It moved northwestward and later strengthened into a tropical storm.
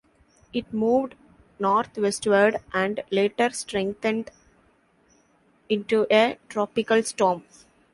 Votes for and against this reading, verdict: 2, 0, accepted